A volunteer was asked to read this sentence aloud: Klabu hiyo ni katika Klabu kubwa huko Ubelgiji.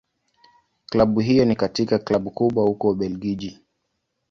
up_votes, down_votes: 2, 0